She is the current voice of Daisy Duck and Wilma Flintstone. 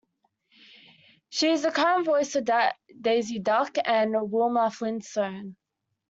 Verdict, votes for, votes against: rejected, 1, 2